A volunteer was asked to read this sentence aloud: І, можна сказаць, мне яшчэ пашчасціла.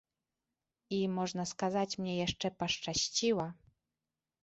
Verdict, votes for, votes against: rejected, 1, 2